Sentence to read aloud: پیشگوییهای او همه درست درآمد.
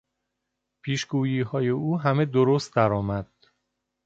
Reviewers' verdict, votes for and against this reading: accepted, 3, 0